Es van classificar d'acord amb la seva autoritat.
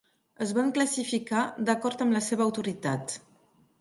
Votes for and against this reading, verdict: 3, 0, accepted